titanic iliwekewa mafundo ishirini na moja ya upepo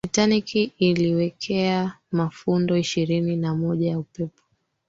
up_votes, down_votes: 4, 0